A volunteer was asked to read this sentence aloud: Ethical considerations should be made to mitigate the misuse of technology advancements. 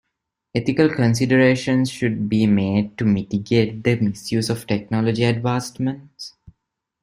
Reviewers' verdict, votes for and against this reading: accepted, 2, 0